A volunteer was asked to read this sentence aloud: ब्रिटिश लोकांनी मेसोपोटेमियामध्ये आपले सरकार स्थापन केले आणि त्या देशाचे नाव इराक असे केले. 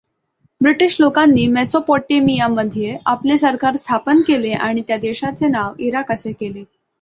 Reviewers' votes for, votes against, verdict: 2, 0, accepted